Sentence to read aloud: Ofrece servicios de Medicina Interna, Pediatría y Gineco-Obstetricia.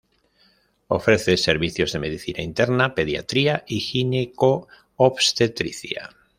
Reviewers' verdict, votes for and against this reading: rejected, 1, 2